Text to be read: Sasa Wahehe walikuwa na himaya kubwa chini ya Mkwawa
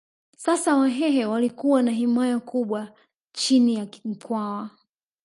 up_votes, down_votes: 1, 2